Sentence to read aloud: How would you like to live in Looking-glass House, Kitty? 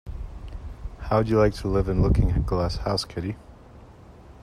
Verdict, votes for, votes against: accepted, 2, 1